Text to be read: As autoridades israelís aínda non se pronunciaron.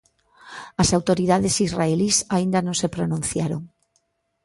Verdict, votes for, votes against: accepted, 2, 0